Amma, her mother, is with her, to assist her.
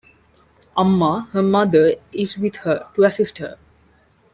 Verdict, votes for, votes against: rejected, 1, 2